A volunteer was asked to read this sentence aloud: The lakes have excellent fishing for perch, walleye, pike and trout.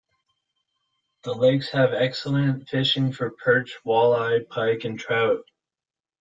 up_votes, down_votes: 2, 0